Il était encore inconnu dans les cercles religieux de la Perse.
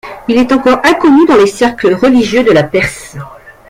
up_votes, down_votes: 0, 2